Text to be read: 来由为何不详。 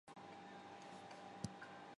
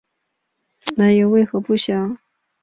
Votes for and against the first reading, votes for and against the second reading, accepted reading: 0, 3, 3, 0, second